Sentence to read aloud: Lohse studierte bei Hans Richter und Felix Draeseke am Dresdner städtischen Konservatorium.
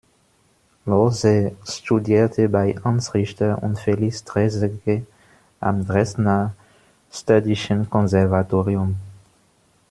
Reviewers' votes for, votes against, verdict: 2, 0, accepted